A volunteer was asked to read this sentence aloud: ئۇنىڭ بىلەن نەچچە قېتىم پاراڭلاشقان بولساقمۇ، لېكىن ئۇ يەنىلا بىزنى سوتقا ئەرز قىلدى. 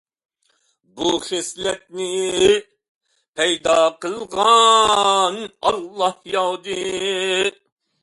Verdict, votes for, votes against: rejected, 0, 2